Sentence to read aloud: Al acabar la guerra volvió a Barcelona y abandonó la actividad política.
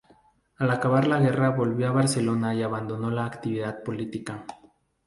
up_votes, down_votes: 2, 0